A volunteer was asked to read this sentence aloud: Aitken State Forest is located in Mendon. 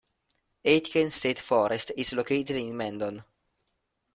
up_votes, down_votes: 2, 1